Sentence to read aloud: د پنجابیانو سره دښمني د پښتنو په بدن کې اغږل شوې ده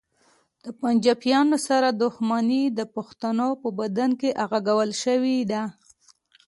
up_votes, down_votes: 2, 0